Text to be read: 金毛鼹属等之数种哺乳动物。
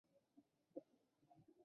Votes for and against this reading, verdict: 4, 3, accepted